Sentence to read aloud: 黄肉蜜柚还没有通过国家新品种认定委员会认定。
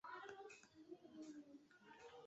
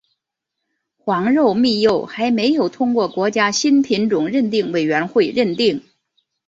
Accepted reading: second